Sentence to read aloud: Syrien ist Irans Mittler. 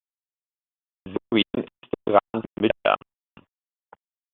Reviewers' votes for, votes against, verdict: 0, 2, rejected